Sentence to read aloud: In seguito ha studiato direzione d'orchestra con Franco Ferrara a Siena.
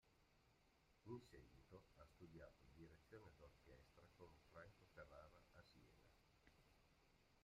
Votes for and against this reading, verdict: 0, 2, rejected